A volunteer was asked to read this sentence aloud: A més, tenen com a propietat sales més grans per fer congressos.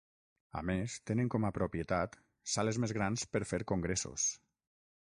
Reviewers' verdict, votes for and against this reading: accepted, 6, 0